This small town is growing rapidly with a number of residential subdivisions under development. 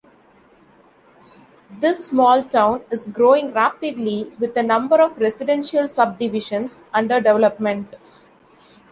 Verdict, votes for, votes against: accepted, 2, 0